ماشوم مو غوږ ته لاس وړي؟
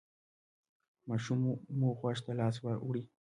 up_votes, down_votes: 2, 1